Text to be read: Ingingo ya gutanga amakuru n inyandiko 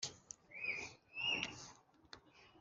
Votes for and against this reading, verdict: 2, 1, accepted